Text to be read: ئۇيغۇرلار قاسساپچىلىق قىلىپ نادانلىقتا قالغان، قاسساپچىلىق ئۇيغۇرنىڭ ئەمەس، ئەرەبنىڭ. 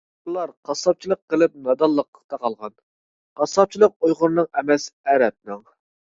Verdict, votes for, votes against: rejected, 0, 2